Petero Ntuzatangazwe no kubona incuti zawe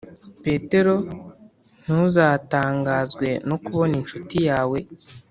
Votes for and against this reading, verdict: 0, 2, rejected